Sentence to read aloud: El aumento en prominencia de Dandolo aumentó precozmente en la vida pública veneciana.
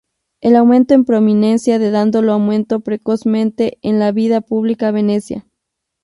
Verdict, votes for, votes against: rejected, 2, 4